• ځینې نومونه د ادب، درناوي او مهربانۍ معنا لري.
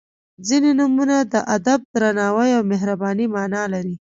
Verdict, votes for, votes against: rejected, 0, 2